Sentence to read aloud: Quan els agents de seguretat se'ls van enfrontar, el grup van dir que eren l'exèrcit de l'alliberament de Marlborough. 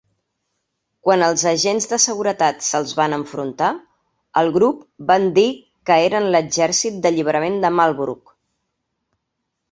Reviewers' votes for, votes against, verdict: 1, 2, rejected